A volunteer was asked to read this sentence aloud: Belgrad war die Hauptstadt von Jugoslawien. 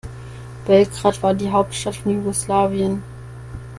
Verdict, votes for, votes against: accepted, 2, 0